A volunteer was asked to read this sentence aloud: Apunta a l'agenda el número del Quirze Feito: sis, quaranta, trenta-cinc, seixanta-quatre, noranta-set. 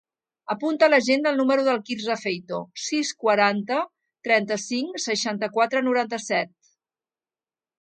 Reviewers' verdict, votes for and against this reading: accepted, 2, 0